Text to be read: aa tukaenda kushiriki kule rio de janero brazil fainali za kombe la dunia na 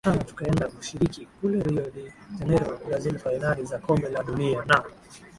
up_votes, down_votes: 14, 3